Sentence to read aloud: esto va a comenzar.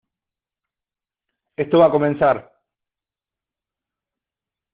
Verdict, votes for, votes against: accepted, 2, 0